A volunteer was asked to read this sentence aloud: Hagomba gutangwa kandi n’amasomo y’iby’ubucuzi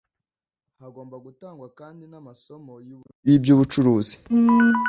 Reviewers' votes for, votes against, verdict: 0, 2, rejected